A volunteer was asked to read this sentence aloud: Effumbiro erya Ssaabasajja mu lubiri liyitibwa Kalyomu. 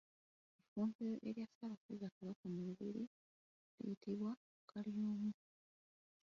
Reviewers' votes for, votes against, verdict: 0, 2, rejected